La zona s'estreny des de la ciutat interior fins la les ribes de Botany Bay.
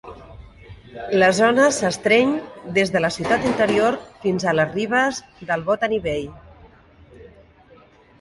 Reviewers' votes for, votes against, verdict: 1, 2, rejected